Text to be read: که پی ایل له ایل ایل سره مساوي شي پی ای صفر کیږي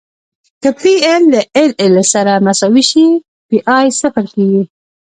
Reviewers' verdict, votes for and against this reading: accepted, 2, 1